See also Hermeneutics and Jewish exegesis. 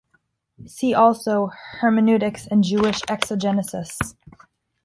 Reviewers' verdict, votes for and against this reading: rejected, 1, 2